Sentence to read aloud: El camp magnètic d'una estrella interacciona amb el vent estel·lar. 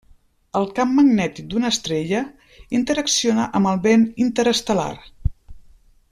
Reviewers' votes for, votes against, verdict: 0, 2, rejected